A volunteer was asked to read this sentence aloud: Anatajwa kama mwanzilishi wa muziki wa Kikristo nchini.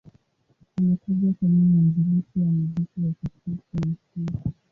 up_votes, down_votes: 0, 2